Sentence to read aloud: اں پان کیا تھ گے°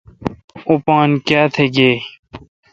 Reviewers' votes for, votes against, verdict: 2, 0, accepted